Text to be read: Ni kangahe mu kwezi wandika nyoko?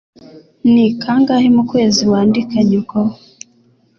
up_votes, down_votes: 2, 0